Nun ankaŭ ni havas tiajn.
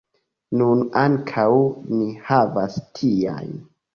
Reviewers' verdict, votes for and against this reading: accepted, 2, 0